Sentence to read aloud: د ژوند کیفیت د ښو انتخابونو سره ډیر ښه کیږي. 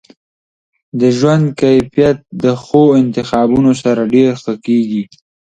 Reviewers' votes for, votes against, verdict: 2, 0, accepted